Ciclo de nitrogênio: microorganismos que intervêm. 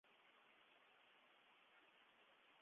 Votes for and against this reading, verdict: 0, 2, rejected